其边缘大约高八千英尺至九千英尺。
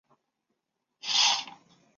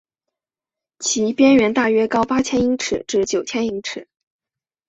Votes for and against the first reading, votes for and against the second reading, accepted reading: 0, 5, 2, 1, second